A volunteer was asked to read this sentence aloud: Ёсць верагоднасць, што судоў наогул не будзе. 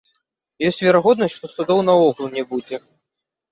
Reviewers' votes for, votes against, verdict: 2, 0, accepted